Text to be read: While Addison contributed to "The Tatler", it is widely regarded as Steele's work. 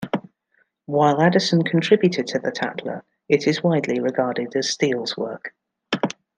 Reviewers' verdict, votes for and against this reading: rejected, 0, 2